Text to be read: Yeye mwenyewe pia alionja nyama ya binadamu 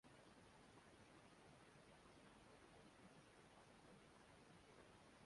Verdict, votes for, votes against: rejected, 1, 3